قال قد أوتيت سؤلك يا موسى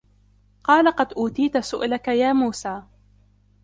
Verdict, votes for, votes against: accepted, 2, 0